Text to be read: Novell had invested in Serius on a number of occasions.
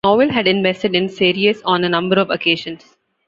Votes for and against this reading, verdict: 1, 2, rejected